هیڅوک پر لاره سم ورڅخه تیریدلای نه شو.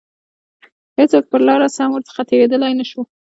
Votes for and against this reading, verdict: 2, 0, accepted